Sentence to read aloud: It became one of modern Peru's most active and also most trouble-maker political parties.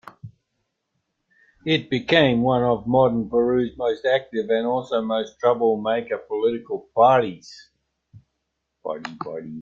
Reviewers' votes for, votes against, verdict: 2, 0, accepted